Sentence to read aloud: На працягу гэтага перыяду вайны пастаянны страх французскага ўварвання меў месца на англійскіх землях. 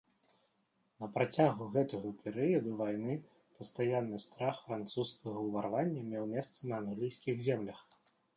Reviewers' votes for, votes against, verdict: 2, 0, accepted